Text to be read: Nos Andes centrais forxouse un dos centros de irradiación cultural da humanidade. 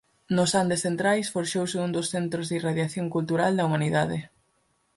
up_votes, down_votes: 4, 0